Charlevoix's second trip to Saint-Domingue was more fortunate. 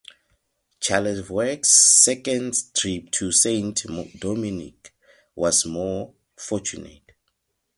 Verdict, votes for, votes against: accepted, 4, 0